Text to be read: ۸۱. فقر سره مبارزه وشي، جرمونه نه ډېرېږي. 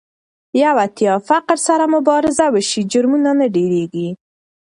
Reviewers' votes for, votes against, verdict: 0, 2, rejected